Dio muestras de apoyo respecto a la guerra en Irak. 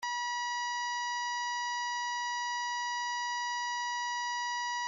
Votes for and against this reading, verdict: 0, 2, rejected